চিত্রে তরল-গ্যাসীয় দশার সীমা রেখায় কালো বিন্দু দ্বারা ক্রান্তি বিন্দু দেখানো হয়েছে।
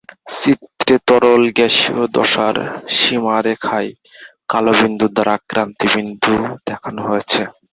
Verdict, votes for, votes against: rejected, 0, 2